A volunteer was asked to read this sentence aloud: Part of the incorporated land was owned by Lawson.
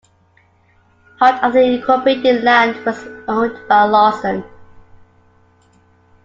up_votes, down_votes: 2, 1